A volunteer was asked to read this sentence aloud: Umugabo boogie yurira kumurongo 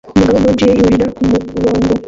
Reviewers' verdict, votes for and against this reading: rejected, 0, 2